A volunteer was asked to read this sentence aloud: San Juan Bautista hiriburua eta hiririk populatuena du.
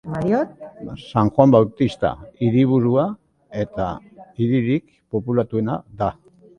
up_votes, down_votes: 0, 2